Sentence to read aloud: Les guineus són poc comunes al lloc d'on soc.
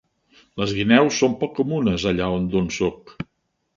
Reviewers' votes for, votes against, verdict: 2, 7, rejected